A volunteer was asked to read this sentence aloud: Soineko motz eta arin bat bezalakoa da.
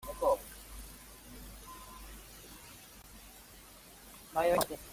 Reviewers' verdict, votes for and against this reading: rejected, 0, 2